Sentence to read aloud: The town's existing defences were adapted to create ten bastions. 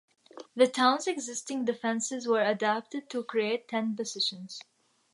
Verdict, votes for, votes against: rejected, 1, 2